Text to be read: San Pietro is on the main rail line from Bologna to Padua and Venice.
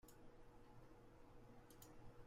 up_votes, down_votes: 0, 2